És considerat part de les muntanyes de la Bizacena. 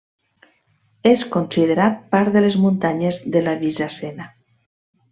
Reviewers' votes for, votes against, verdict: 2, 0, accepted